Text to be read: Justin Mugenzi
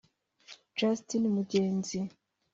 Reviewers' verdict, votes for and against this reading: accepted, 2, 0